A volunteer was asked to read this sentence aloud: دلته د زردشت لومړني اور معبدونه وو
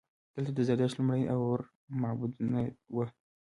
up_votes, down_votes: 1, 2